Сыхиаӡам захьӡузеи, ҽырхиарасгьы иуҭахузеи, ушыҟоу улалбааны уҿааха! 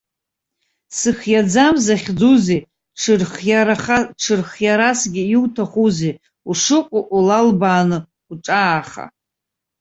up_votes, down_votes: 0, 2